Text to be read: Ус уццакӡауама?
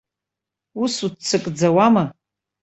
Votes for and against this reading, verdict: 2, 0, accepted